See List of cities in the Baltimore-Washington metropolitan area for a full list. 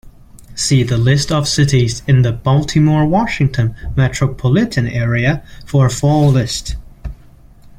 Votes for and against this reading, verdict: 0, 2, rejected